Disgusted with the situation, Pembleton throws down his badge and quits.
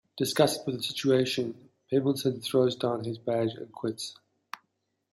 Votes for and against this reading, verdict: 2, 0, accepted